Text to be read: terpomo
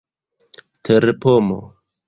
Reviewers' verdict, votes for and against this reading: accepted, 2, 0